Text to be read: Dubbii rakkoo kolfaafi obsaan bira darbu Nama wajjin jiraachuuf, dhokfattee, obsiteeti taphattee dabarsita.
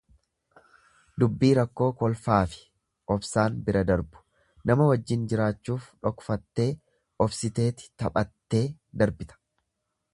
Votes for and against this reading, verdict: 1, 2, rejected